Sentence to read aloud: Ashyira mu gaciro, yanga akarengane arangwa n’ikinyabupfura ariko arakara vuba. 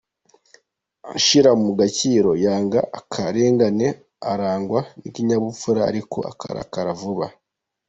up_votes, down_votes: 2, 0